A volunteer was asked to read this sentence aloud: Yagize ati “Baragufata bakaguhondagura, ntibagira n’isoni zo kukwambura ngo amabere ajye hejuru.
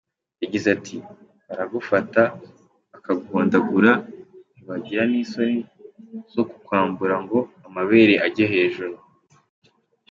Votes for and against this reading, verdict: 2, 0, accepted